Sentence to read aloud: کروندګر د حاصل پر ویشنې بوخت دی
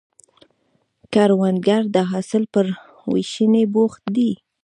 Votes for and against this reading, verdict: 2, 1, accepted